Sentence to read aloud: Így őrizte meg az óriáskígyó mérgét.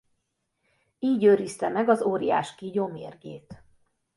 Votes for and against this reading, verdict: 3, 0, accepted